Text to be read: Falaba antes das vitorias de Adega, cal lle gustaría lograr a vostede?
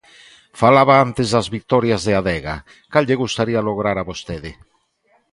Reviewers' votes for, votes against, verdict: 2, 0, accepted